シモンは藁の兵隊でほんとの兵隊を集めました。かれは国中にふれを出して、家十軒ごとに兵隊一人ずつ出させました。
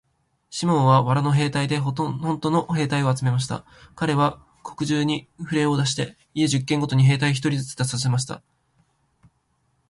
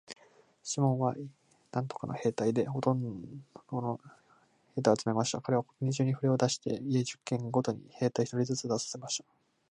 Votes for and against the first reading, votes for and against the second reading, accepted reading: 5, 3, 0, 3, first